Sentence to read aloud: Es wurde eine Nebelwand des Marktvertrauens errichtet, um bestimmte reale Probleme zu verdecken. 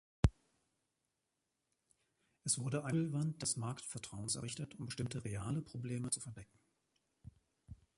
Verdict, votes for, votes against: rejected, 0, 2